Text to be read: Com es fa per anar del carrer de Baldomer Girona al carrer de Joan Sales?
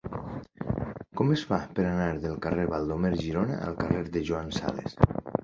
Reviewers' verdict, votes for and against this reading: rejected, 1, 2